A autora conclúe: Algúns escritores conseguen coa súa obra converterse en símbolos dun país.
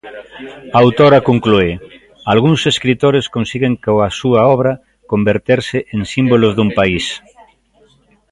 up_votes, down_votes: 0, 2